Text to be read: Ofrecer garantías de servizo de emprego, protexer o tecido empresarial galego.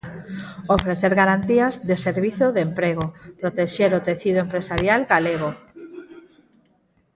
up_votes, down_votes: 0, 4